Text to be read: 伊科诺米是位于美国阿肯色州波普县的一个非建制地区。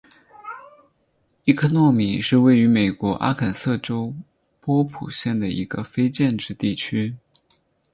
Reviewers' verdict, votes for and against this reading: accepted, 4, 0